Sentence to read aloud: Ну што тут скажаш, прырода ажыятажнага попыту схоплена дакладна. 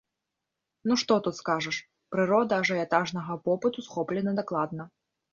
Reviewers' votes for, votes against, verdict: 2, 0, accepted